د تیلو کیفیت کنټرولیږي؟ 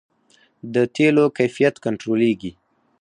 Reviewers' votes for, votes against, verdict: 4, 0, accepted